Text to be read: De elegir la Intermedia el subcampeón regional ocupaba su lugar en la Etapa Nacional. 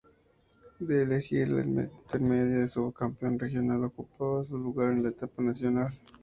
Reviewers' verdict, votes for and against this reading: rejected, 0, 2